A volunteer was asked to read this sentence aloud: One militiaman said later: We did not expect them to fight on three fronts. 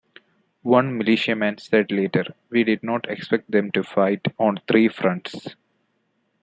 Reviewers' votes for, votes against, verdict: 0, 2, rejected